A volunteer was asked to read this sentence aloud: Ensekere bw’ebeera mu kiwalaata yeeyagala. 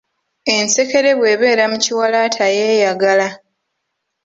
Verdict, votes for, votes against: accepted, 3, 1